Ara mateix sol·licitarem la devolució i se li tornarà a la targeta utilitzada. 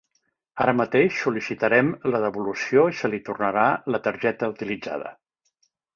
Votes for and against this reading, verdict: 0, 3, rejected